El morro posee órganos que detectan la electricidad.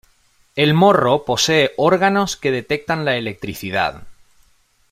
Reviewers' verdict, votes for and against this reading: accepted, 2, 0